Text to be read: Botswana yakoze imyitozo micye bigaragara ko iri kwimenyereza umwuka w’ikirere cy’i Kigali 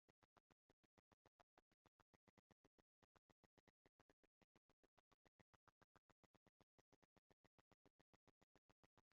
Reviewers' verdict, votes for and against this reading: rejected, 1, 2